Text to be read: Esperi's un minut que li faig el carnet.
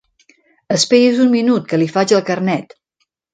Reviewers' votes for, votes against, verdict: 1, 2, rejected